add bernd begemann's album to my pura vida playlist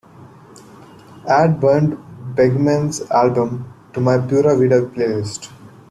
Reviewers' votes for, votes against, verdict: 2, 1, accepted